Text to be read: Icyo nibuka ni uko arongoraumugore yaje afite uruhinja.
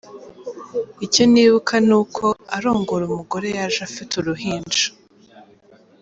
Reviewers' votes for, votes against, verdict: 2, 0, accepted